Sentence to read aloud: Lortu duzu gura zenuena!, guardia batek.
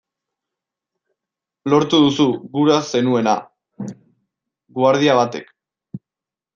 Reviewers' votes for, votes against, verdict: 1, 2, rejected